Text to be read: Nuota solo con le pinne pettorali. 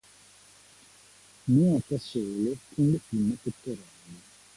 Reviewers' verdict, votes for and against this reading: accepted, 2, 1